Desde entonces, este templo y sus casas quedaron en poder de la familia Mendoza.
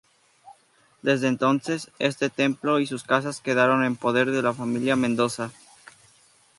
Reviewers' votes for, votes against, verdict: 2, 0, accepted